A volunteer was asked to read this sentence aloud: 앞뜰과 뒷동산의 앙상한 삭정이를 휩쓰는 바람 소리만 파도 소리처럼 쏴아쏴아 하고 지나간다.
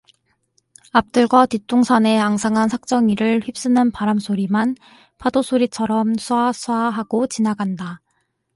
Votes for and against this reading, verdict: 4, 0, accepted